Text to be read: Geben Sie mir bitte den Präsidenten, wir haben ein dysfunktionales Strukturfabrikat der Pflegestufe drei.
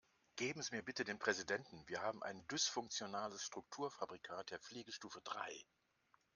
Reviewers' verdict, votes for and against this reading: rejected, 1, 2